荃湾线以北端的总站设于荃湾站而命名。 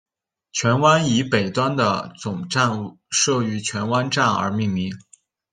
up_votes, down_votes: 0, 2